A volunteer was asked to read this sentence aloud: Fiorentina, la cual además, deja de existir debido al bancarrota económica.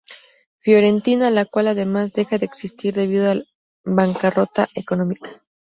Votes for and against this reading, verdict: 2, 2, rejected